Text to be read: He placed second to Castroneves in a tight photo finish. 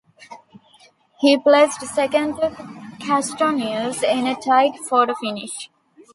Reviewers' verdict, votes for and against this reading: rejected, 0, 2